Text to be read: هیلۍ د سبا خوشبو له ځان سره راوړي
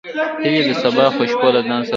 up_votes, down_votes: 0, 2